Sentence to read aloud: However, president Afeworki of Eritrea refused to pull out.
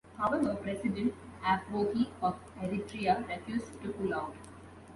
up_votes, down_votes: 1, 2